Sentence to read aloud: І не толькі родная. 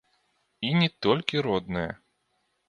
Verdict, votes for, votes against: accepted, 2, 1